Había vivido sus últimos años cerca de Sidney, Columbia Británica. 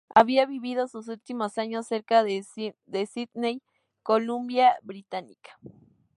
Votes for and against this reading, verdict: 2, 0, accepted